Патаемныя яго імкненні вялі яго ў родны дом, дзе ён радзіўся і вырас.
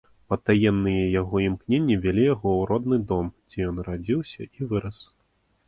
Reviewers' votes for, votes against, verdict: 2, 0, accepted